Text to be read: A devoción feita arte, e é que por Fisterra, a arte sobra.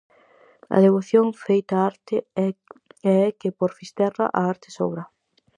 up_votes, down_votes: 0, 4